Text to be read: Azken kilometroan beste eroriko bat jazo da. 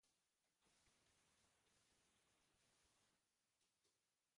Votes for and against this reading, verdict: 0, 3, rejected